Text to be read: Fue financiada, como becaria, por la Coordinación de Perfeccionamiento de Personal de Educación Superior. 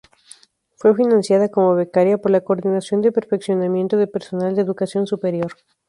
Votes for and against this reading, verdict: 2, 0, accepted